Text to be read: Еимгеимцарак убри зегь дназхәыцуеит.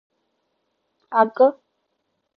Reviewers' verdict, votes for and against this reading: rejected, 0, 2